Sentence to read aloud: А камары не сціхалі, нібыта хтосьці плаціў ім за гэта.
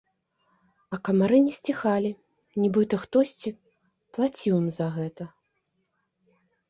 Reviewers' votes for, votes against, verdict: 2, 0, accepted